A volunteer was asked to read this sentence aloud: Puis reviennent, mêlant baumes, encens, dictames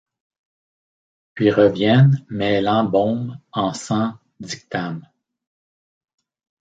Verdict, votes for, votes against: rejected, 1, 2